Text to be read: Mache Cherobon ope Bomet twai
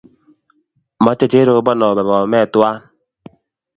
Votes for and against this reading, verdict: 2, 0, accepted